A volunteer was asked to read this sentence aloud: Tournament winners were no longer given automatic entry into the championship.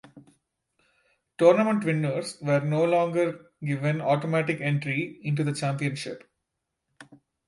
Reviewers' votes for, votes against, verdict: 2, 0, accepted